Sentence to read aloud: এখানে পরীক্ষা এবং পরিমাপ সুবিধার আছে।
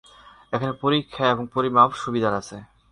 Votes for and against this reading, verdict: 0, 2, rejected